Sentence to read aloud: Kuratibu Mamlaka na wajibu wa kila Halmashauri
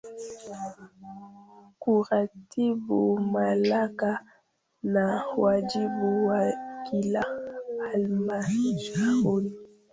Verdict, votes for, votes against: rejected, 1, 2